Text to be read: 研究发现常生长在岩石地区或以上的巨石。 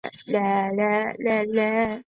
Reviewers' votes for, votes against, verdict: 0, 2, rejected